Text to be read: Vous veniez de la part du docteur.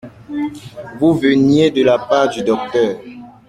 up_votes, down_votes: 2, 0